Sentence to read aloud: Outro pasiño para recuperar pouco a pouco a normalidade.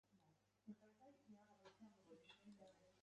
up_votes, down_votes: 1, 2